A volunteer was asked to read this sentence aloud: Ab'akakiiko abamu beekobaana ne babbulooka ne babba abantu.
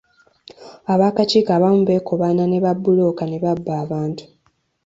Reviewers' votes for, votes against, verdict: 2, 0, accepted